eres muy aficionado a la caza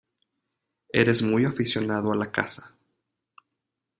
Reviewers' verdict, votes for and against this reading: accepted, 2, 0